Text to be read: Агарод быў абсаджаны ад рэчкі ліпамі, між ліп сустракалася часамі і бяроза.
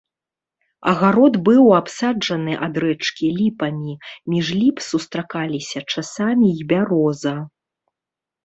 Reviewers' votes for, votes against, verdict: 1, 3, rejected